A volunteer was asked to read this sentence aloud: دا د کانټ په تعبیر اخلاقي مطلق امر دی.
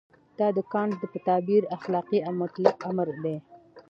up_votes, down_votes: 2, 0